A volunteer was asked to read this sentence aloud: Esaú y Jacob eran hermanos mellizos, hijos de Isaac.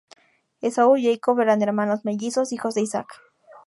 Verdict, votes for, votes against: accepted, 2, 0